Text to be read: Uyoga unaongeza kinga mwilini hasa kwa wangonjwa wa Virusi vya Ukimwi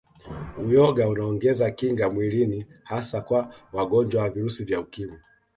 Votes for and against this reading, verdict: 2, 0, accepted